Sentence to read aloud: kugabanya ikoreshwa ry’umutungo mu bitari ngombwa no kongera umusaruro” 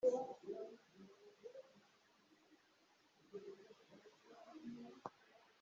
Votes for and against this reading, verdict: 0, 2, rejected